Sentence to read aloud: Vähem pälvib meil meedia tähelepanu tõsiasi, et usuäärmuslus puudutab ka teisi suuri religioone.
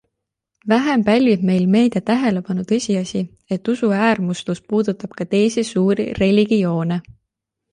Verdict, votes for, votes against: accepted, 2, 0